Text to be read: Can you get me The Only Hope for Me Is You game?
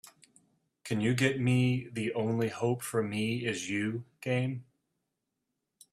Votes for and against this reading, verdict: 2, 0, accepted